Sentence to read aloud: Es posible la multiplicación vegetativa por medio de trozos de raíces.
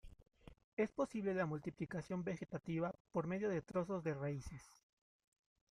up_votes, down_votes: 2, 0